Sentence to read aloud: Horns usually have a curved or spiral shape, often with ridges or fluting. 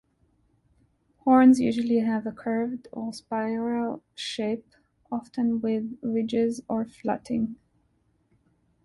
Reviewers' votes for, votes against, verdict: 1, 2, rejected